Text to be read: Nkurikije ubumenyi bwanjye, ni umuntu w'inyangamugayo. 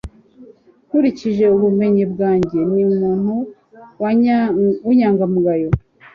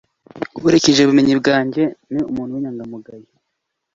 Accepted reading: second